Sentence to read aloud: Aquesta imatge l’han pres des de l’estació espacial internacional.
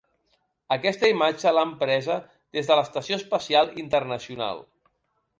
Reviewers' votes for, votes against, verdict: 0, 2, rejected